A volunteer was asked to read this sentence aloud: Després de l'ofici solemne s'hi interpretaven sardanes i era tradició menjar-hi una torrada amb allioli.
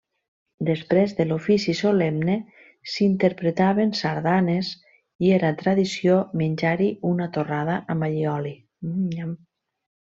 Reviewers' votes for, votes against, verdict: 1, 2, rejected